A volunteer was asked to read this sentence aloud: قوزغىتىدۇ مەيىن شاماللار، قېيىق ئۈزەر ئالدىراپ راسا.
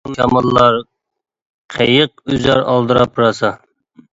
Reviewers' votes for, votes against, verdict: 0, 2, rejected